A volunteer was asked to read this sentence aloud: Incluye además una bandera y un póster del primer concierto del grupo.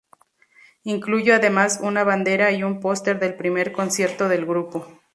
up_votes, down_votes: 2, 0